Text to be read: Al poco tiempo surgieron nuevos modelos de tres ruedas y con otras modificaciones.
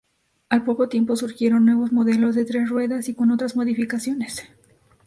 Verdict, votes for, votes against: accepted, 2, 0